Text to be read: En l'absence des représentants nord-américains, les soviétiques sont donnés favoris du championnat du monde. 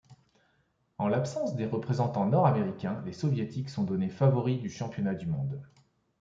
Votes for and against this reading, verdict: 2, 1, accepted